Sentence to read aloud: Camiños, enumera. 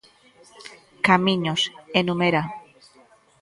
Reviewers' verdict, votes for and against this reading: rejected, 1, 2